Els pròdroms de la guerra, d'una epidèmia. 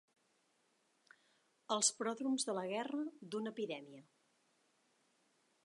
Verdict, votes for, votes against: accepted, 2, 0